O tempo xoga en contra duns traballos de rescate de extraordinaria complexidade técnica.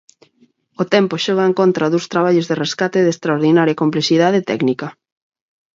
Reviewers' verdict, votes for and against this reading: accepted, 4, 0